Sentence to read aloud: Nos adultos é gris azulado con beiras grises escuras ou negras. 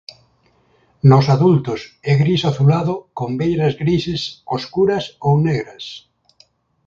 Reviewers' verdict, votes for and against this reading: rejected, 1, 2